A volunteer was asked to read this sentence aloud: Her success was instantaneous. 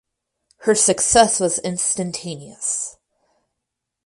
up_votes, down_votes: 4, 2